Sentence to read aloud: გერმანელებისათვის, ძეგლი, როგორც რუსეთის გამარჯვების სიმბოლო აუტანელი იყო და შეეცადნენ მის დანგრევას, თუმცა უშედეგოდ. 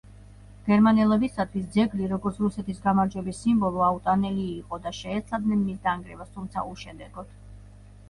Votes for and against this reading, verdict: 0, 2, rejected